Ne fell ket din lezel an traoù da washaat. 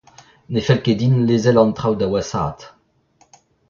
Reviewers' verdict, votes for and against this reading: accepted, 2, 1